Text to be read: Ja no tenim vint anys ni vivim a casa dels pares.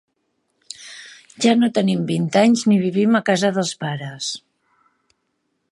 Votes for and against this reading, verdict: 2, 0, accepted